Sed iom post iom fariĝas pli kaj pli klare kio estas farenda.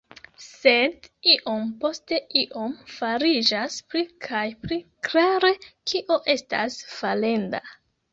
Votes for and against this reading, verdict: 1, 3, rejected